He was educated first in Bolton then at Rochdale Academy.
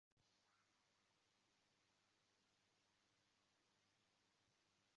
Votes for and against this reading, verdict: 0, 2, rejected